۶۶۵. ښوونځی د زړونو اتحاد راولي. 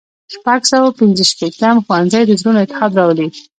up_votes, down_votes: 0, 2